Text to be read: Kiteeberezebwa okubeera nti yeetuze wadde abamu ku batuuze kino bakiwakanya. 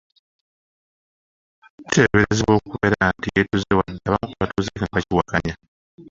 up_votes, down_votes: 2, 1